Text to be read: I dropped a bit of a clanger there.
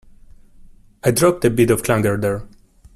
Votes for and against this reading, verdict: 2, 1, accepted